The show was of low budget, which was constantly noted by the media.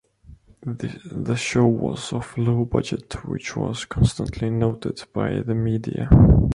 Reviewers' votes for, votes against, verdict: 0, 2, rejected